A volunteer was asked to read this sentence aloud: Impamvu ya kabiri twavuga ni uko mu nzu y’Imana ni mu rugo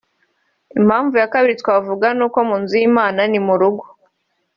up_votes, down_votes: 2, 0